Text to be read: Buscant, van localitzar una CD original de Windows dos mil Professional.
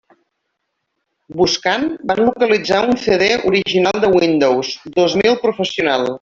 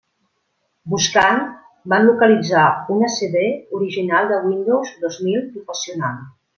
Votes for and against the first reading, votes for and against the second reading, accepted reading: 0, 2, 2, 0, second